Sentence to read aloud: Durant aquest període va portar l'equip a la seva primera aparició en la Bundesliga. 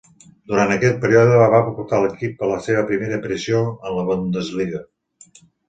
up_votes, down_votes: 2, 1